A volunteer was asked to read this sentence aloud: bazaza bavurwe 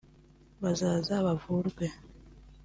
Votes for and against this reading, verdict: 2, 0, accepted